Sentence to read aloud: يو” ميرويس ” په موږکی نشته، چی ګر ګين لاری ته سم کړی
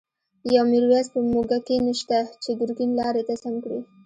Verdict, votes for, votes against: accepted, 2, 0